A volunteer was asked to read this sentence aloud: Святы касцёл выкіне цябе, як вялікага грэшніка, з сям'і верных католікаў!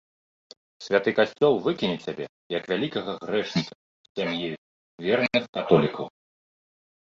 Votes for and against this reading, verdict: 1, 2, rejected